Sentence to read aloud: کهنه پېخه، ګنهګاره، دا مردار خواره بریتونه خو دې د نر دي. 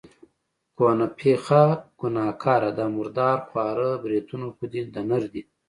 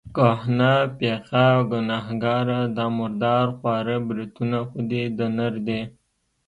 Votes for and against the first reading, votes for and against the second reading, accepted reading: 3, 0, 1, 2, first